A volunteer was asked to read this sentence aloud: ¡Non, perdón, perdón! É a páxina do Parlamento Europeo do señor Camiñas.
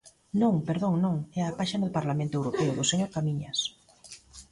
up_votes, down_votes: 0, 2